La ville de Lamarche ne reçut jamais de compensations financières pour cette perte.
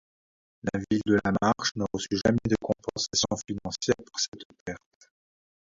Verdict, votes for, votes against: rejected, 0, 2